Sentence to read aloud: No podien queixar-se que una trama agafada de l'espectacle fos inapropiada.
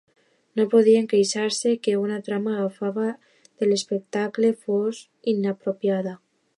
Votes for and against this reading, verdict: 1, 2, rejected